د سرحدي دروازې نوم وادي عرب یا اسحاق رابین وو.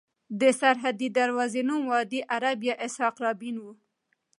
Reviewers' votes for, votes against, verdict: 2, 0, accepted